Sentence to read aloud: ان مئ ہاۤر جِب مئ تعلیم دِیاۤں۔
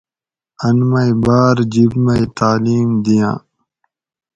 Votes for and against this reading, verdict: 4, 0, accepted